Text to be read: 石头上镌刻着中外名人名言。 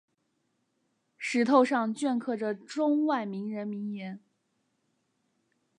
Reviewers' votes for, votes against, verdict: 3, 2, accepted